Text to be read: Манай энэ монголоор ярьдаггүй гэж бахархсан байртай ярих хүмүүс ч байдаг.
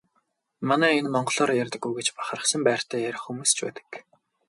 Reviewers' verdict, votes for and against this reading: accepted, 4, 0